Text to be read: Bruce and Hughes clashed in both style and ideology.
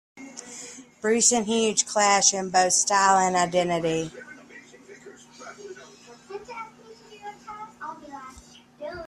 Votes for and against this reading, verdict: 0, 2, rejected